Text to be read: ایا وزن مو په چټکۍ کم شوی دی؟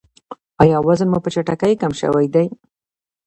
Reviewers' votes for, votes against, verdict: 2, 1, accepted